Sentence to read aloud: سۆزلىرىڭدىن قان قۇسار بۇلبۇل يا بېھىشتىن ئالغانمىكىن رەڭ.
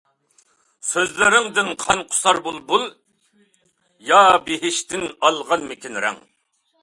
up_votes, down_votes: 2, 0